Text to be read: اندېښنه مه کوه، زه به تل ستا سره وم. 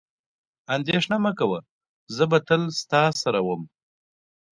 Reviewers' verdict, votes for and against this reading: accepted, 2, 0